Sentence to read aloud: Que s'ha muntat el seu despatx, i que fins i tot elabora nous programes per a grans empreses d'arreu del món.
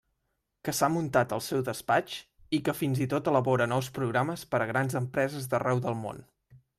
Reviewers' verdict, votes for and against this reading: accepted, 3, 0